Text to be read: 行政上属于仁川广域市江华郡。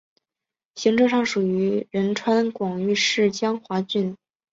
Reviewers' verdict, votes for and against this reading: accepted, 5, 0